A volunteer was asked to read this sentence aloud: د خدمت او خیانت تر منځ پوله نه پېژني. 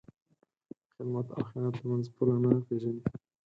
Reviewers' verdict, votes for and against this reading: accepted, 4, 0